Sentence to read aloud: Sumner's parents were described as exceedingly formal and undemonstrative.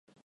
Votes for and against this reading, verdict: 0, 4, rejected